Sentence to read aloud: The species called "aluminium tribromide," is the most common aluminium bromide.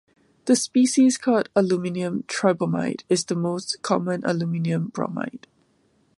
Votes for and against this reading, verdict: 2, 0, accepted